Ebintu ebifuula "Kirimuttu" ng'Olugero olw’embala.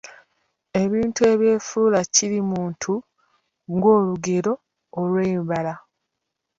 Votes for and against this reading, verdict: 1, 2, rejected